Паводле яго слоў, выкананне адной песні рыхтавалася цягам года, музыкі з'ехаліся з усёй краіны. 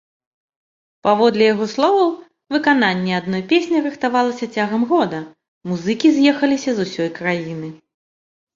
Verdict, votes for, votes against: rejected, 0, 2